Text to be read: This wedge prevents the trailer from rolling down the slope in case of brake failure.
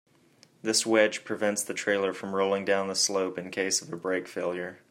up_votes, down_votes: 0, 2